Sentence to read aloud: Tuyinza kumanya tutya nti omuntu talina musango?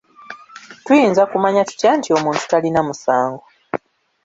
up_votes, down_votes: 2, 1